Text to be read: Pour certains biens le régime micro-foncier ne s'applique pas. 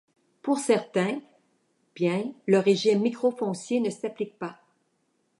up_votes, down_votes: 1, 3